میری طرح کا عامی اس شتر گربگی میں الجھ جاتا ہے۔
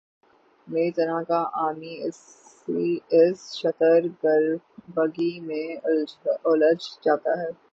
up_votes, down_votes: 0, 3